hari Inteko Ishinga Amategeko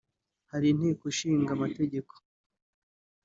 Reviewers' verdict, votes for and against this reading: accepted, 2, 0